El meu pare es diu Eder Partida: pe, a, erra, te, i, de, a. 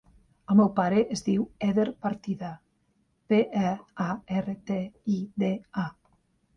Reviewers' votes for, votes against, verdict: 0, 2, rejected